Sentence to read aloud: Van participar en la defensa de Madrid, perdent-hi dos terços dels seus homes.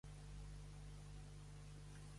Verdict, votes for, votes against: rejected, 0, 2